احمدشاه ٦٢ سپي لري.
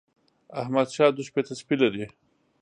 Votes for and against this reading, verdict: 0, 2, rejected